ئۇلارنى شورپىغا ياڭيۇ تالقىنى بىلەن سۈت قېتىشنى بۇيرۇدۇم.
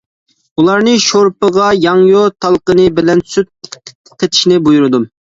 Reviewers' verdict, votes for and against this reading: rejected, 0, 2